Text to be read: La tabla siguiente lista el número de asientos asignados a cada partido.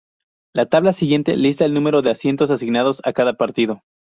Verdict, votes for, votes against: accepted, 2, 0